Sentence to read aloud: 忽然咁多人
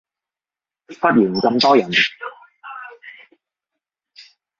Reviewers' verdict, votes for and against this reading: rejected, 1, 2